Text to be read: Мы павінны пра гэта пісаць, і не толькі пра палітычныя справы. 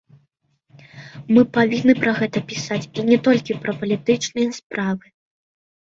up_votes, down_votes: 2, 0